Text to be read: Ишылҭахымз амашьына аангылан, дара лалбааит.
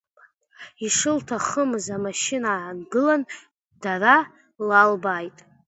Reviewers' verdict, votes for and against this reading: accepted, 3, 0